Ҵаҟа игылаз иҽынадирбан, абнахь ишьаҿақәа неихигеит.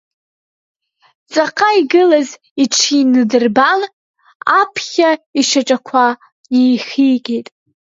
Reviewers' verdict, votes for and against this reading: rejected, 0, 2